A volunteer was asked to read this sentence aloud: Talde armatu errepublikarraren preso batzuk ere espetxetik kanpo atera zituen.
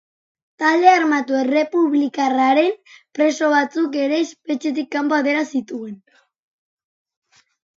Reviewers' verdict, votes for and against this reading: rejected, 1, 2